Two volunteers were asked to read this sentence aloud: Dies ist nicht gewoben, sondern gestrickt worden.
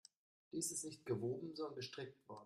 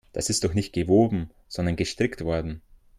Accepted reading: first